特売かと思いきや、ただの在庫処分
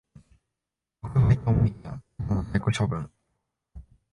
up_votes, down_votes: 1, 4